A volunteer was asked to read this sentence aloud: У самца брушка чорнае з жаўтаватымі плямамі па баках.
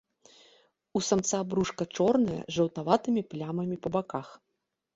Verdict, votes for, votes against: accepted, 2, 0